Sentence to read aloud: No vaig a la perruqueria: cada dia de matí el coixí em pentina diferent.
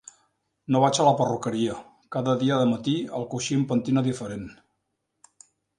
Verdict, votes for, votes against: accepted, 2, 0